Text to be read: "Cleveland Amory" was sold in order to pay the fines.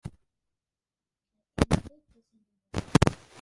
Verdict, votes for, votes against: rejected, 0, 2